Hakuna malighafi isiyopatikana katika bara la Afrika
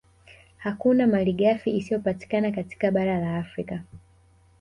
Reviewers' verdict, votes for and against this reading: rejected, 1, 2